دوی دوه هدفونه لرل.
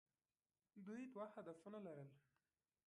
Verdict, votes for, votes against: accepted, 2, 1